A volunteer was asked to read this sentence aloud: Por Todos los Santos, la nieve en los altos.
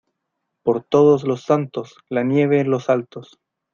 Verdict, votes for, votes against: rejected, 1, 2